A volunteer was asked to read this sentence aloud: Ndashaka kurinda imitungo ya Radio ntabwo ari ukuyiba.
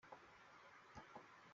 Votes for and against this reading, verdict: 0, 2, rejected